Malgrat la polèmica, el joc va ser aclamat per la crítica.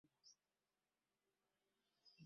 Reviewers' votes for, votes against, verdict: 1, 2, rejected